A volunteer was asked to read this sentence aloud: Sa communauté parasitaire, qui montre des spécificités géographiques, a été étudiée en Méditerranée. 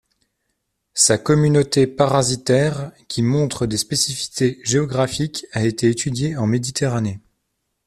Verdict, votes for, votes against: accepted, 2, 1